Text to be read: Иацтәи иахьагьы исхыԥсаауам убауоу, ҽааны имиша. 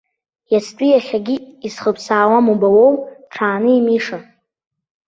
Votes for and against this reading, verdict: 2, 1, accepted